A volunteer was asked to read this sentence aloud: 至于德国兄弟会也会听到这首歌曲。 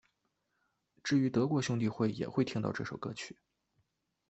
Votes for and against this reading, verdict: 2, 0, accepted